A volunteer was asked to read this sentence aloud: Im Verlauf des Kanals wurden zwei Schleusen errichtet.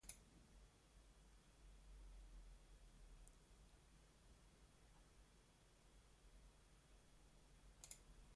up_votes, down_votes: 0, 2